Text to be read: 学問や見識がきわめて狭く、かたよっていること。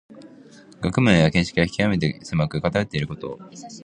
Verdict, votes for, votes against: accepted, 2, 1